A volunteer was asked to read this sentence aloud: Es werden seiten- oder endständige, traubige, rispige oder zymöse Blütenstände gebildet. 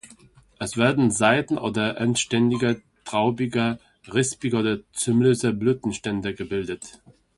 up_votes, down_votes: 1, 2